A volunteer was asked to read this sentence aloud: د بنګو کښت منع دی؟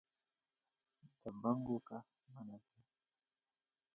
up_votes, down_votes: 2, 0